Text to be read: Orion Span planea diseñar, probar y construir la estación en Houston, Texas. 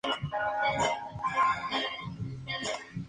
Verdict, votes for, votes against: rejected, 0, 2